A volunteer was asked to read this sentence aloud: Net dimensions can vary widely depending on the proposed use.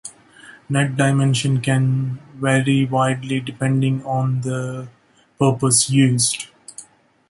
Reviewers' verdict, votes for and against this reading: accepted, 2, 1